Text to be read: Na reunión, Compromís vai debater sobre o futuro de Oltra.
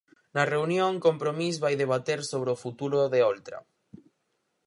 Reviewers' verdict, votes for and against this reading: accepted, 4, 0